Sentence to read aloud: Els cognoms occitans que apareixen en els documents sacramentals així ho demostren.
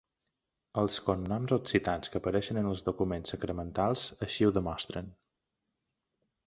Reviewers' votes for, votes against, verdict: 2, 0, accepted